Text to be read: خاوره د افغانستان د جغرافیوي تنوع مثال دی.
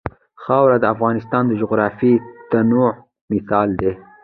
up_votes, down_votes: 2, 0